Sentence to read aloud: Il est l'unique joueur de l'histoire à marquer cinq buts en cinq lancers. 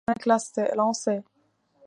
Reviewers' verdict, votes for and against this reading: rejected, 0, 2